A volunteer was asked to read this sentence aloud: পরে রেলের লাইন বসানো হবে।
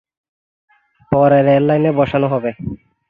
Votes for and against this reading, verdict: 0, 3, rejected